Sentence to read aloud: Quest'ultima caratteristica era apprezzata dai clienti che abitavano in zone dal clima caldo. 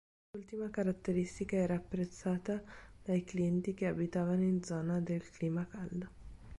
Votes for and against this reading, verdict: 0, 2, rejected